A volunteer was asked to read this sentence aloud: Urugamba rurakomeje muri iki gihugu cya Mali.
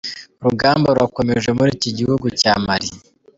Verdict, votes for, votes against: accepted, 2, 0